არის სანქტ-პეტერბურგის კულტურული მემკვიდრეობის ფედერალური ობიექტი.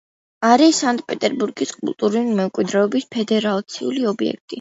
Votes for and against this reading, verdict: 2, 1, accepted